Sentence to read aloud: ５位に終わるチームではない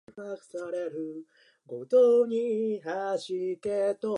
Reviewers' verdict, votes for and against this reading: rejected, 0, 2